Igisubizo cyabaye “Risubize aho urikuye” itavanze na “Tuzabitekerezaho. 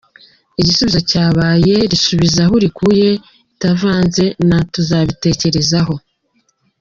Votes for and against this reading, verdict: 0, 2, rejected